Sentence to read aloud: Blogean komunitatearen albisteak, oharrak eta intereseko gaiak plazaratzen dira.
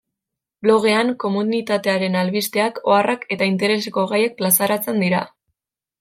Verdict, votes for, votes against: accepted, 2, 0